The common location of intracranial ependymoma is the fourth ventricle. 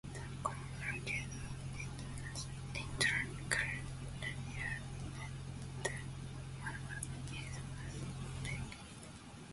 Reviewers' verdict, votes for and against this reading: rejected, 0, 2